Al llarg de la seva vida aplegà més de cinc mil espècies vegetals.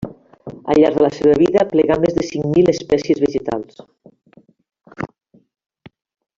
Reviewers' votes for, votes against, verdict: 0, 2, rejected